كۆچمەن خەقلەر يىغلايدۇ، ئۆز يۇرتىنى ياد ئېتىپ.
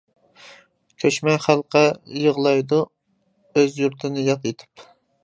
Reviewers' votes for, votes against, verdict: 0, 2, rejected